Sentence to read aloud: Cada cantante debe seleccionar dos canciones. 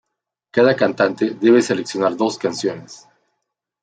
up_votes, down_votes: 2, 0